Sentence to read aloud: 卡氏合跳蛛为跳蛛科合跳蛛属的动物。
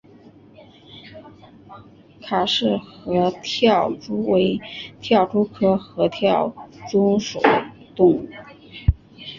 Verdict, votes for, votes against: accepted, 2, 1